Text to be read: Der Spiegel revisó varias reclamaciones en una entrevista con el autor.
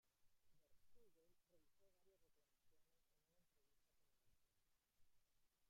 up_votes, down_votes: 0, 2